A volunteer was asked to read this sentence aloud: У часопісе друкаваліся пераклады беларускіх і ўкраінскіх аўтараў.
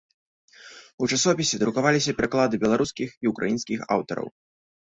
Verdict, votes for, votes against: accepted, 2, 0